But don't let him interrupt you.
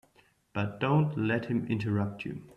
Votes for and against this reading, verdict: 2, 0, accepted